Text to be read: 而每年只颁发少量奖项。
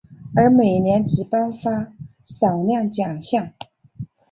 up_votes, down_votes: 2, 1